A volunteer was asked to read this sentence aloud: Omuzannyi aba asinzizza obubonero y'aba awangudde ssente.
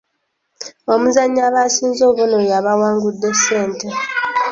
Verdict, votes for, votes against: rejected, 0, 2